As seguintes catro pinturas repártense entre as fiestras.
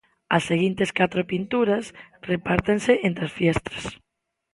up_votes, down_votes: 2, 0